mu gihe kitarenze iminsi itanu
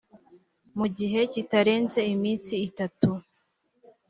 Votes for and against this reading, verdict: 0, 3, rejected